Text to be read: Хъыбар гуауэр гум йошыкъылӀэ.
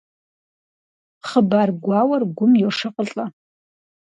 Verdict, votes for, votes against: accepted, 4, 0